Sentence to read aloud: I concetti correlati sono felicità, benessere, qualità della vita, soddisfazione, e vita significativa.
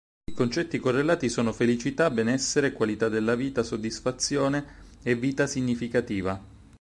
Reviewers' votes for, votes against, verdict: 6, 0, accepted